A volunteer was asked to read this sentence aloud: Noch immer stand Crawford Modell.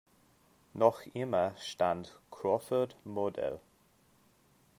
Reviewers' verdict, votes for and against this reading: rejected, 1, 2